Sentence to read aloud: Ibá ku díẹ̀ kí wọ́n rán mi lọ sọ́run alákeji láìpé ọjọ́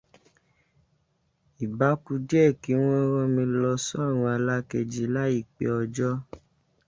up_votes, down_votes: 2, 0